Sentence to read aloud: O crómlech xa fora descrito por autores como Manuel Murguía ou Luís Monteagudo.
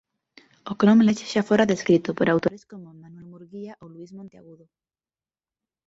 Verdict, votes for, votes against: rejected, 0, 2